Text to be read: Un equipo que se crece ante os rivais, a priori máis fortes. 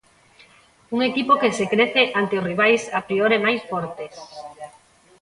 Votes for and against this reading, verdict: 0, 2, rejected